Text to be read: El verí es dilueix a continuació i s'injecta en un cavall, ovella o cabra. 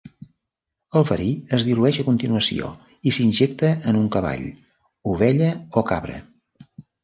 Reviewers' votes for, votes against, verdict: 2, 0, accepted